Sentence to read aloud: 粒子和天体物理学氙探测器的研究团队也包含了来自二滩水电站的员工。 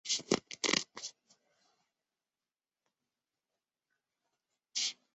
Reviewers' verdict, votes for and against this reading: rejected, 1, 9